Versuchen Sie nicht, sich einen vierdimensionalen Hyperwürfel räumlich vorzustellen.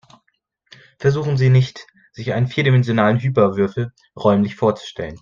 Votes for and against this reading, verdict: 0, 2, rejected